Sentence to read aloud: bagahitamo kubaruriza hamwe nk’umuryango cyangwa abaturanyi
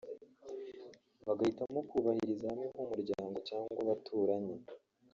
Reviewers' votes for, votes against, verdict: 0, 2, rejected